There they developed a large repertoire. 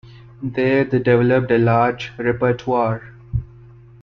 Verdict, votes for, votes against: rejected, 1, 2